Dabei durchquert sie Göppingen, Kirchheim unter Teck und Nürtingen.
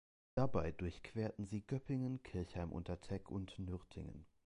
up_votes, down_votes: 0, 3